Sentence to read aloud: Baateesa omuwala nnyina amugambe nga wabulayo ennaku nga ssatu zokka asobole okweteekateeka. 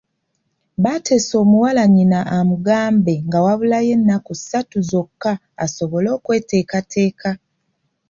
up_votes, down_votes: 0, 2